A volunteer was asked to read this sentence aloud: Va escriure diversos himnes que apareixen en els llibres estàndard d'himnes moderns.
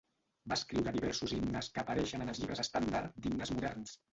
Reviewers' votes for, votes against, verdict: 0, 2, rejected